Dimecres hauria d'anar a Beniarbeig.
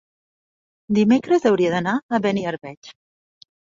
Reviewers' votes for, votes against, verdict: 3, 0, accepted